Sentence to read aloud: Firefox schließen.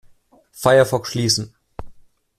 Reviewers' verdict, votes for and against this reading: accepted, 2, 0